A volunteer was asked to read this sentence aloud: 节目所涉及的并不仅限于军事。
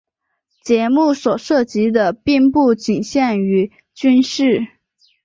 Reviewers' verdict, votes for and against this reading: accepted, 2, 0